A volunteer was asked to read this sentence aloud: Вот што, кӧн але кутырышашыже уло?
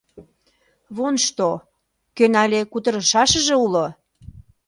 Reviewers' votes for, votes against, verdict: 0, 2, rejected